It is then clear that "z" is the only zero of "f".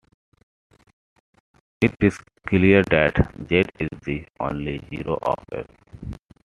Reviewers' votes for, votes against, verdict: 0, 2, rejected